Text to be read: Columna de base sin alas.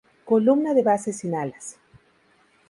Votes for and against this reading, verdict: 2, 0, accepted